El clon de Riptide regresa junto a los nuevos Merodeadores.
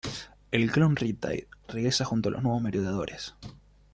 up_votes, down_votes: 0, 2